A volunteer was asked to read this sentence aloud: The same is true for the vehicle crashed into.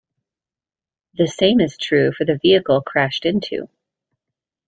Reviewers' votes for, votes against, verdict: 2, 0, accepted